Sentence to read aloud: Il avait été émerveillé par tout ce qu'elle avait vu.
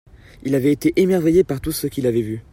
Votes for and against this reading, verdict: 0, 2, rejected